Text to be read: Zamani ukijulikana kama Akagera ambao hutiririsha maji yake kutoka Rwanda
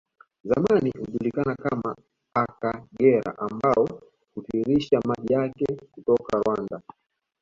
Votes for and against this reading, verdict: 2, 0, accepted